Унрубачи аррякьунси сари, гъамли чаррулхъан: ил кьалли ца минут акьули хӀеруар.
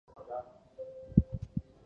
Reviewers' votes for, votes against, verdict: 0, 2, rejected